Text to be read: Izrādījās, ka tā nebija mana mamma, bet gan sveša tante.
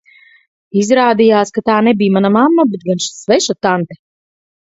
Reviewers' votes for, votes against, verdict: 2, 4, rejected